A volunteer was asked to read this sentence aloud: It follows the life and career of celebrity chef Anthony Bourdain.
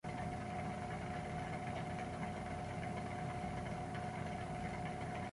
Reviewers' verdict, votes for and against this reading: rejected, 0, 2